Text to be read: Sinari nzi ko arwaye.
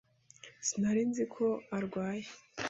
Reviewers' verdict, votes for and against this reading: accepted, 2, 0